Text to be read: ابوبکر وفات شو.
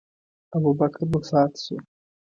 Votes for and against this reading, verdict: 2, 0, accepted